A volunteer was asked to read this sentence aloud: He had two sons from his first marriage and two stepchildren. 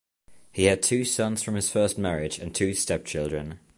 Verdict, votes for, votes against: accepted, 2, 0